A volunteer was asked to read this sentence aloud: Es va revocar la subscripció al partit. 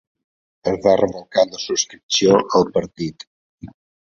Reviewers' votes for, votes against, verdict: 2, 0, accepted